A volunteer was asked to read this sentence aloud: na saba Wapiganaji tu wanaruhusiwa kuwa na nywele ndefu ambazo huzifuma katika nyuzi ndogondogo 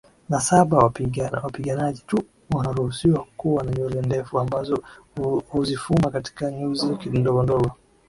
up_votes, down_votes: 12, 8